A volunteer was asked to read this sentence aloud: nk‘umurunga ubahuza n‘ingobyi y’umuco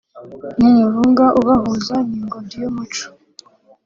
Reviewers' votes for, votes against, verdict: 2, 0, accepted